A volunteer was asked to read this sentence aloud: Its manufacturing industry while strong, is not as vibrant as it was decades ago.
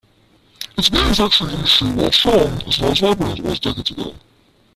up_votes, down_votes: 0, 2